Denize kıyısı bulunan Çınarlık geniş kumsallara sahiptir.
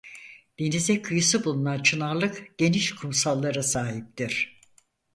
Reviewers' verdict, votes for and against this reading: accepted, 4, 0